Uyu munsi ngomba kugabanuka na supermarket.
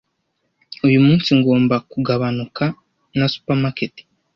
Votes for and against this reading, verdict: 2, 0, accepted